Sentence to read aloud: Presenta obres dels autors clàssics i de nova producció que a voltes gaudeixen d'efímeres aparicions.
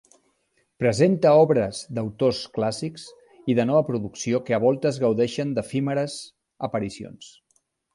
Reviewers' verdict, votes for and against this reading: rejected, 1, 3